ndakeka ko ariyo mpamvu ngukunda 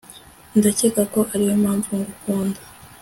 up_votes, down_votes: 2, 0